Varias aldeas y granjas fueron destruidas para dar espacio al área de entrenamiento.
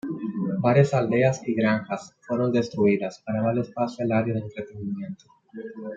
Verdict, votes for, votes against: rejected, 0, 2